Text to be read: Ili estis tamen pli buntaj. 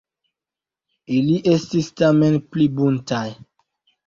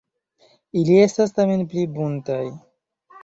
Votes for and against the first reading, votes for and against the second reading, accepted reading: 1, 2, 2, 1, second